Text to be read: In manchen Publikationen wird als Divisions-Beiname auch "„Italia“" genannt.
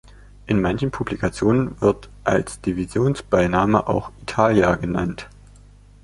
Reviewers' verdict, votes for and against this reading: accepted, 2, 0